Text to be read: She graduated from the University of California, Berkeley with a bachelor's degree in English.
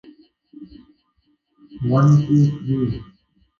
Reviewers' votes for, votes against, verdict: 0, 2, rejected